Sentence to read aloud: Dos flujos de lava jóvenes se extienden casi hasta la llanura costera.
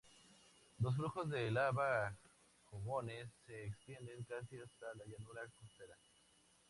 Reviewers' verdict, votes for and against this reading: rejected, 0, 2